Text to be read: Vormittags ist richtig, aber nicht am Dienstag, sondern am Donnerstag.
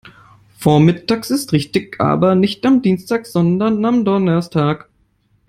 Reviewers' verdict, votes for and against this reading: rejected, 0, 2